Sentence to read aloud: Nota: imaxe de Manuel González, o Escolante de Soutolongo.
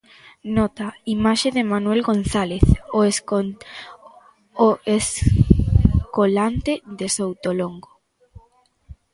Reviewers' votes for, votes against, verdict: 0, 2, rejected